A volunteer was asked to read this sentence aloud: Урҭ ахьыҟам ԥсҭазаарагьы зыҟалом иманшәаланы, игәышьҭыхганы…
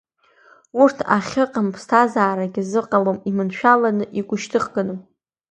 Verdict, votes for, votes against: accepted, 2, 0